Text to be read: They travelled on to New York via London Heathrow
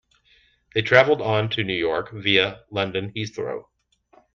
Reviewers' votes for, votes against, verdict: 2, 0, accepted